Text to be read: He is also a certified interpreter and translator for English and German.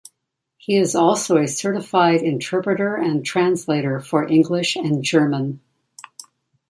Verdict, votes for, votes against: accepted, 2, 0